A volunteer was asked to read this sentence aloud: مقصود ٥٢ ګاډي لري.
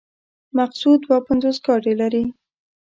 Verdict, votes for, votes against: rejected, 0, 2